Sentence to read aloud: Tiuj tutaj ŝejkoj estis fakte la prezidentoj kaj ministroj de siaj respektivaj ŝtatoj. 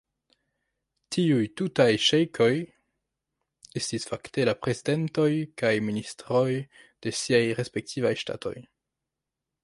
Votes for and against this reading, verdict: 0, 2, rejected